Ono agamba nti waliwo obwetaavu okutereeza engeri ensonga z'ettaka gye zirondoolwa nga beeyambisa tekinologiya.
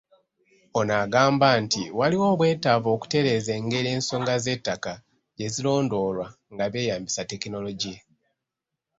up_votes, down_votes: 2, 0